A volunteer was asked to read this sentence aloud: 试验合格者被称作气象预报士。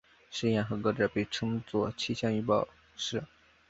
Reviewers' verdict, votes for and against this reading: accepted, 2, 0